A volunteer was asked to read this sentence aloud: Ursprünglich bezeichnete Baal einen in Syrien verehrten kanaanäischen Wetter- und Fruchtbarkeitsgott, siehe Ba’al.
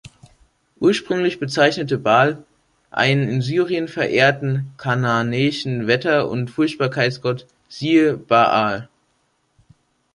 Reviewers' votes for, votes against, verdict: 0, 2, rejected